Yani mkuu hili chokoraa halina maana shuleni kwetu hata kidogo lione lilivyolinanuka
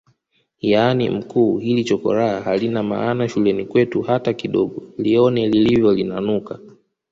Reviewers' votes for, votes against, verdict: 2, 1, accepted